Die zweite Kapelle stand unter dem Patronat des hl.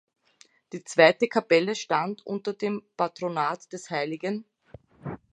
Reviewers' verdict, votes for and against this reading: accepted, 2, 0